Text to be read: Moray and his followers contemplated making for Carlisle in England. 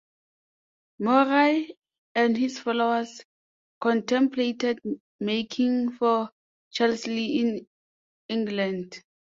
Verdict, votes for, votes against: rejected, 0, 2